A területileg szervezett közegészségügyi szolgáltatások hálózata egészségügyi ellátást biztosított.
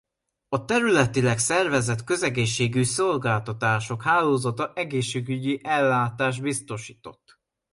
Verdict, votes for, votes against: rejected, 0, 2